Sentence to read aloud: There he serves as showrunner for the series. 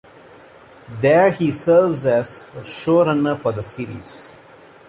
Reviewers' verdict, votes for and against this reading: rejected, 0, 2